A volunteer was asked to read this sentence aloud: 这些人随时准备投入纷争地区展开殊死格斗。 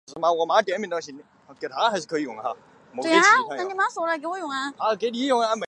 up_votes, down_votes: 0, 2